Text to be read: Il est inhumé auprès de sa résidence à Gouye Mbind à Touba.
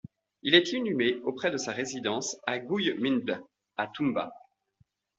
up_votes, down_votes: 2, 0